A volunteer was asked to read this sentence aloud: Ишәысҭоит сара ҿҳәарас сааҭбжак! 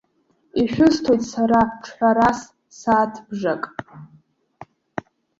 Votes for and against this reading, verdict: 1, 2, rejected